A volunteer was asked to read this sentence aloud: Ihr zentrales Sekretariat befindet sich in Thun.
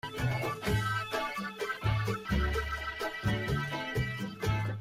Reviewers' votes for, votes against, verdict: 0, 2, rejected